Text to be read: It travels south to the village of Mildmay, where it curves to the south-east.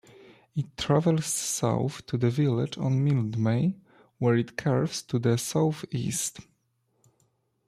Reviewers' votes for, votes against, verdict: 1, 2, rejected